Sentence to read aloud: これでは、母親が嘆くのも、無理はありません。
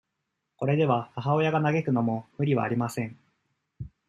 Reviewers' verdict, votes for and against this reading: accepted, 2, 0